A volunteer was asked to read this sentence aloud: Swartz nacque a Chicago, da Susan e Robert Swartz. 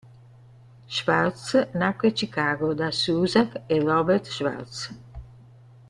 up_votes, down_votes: 2, 0